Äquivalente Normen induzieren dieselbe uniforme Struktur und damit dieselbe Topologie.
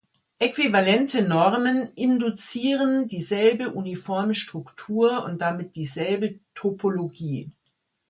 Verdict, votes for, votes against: accepted, 2, 0